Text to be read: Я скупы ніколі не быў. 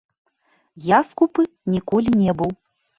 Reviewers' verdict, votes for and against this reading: rejected, 1, 2